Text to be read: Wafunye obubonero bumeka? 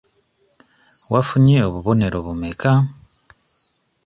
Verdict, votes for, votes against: accepted, 2, 0